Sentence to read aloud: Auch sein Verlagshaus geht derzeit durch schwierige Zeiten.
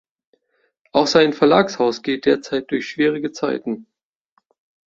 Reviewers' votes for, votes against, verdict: 2, 0, accepted